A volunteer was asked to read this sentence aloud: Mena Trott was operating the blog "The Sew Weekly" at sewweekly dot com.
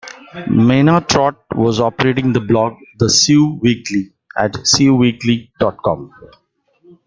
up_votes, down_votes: 2, 1